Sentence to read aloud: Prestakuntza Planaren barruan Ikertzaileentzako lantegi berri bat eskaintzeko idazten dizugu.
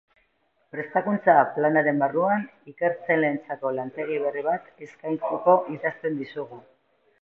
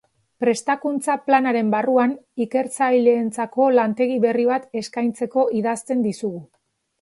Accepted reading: second